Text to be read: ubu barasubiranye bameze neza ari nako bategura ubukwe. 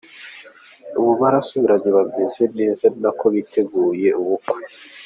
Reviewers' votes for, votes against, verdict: 2, 1, accepted